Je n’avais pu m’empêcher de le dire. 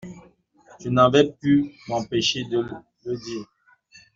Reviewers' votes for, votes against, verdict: 0, 2, rejected